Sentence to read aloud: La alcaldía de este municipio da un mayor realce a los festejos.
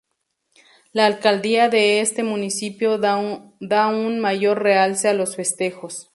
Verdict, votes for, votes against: rejected, 0, 2